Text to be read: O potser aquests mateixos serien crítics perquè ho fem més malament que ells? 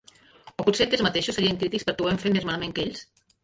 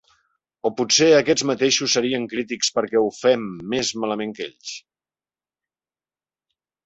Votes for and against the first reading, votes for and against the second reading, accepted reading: 0, 2, 3, 0, second